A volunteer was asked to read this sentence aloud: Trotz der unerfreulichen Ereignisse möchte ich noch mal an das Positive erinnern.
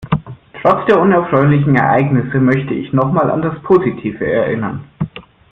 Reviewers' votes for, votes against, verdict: 2, 0, accepted